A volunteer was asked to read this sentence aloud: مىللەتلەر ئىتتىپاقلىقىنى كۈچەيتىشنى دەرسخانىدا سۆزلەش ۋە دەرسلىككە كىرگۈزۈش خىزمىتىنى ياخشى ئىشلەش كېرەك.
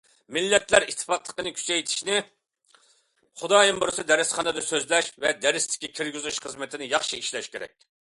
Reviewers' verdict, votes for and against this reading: rejected, 0, 2